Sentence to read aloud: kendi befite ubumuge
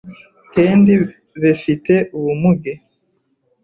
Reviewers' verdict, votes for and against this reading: rejected, 0, 2